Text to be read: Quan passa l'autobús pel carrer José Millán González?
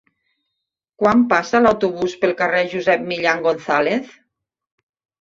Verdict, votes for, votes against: rejected, 1, 2